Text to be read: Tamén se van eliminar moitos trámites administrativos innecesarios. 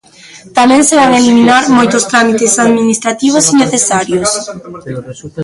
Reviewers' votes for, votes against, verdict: 0, 2, rejected